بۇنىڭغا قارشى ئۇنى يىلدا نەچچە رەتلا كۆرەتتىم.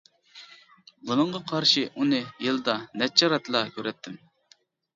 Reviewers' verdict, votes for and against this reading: accepted, 2, 1